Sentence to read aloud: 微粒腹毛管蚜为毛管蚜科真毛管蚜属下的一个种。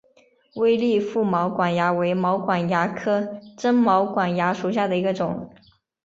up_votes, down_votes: 4, 0